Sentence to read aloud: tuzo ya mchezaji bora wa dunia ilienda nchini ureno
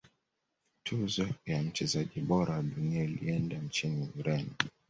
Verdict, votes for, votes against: accepted, 2, 0